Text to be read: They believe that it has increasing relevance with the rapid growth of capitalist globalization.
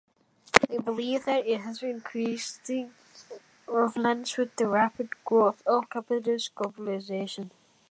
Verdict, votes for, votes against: rejected, 0, 2